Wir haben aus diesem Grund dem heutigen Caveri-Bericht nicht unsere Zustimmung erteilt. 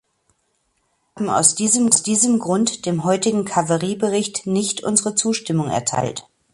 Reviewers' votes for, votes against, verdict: 0, 2, rejected